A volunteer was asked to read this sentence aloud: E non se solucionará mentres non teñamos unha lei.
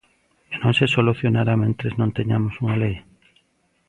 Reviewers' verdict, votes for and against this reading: accepted, 2, 0